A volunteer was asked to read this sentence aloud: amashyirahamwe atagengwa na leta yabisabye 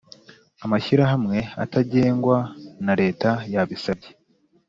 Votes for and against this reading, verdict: 2, 0, accepted